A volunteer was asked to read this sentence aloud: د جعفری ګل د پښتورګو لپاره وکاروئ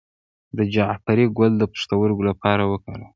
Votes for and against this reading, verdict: 1, 2, rejected